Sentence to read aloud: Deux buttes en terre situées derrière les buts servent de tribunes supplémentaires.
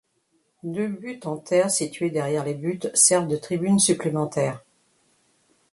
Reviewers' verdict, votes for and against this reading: rejected, 1, 2